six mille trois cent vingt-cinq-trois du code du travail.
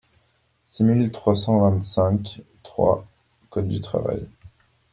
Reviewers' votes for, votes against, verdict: 1, 2, rejected